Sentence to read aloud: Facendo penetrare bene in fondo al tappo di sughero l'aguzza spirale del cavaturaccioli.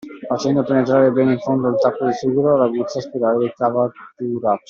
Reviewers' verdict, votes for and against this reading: rejected, 1, 2